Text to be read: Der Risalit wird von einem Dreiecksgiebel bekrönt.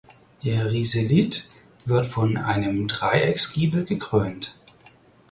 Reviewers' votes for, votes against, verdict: 0, 4, rejected